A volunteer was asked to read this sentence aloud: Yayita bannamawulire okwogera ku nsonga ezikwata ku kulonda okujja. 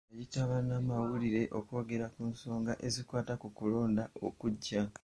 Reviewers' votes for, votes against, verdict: 2, 0, accepted